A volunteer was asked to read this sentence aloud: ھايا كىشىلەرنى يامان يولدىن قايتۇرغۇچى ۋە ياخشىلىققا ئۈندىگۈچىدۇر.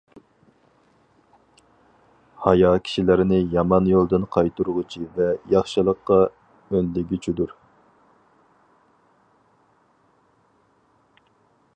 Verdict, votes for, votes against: accepted, 4, 0